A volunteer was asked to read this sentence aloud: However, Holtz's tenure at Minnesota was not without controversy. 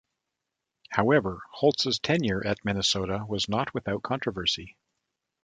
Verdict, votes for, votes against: accepted, 2, 0